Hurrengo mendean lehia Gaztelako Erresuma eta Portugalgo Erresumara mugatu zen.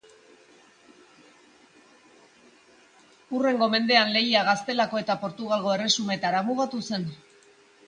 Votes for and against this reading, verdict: 0, 2, rejected